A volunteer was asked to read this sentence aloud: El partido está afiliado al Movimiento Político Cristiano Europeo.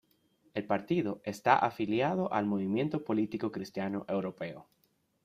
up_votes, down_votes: 2, 0